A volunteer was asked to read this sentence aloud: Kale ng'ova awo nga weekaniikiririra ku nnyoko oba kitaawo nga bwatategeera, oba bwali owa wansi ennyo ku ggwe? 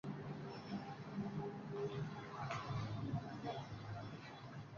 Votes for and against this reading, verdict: 0, 2, rejected